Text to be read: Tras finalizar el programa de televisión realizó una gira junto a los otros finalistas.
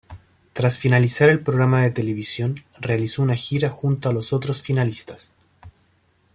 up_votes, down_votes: 2, 0